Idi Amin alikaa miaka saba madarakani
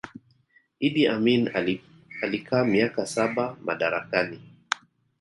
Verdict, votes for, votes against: rejected, 1, 2